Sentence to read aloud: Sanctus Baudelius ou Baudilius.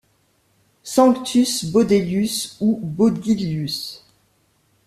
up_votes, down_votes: 2, 0